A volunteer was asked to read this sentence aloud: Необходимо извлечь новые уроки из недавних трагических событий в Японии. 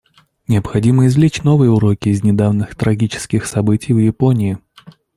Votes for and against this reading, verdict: 2, 0, accepted